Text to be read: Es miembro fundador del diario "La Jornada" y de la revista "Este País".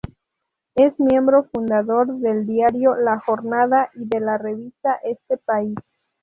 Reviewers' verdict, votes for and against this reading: accepted, 4, 0